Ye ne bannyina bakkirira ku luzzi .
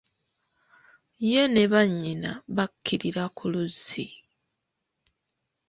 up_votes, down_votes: 2, 0